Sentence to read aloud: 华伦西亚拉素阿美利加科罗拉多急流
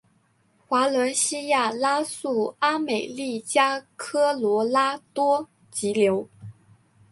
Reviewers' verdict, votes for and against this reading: accepted, 3, 0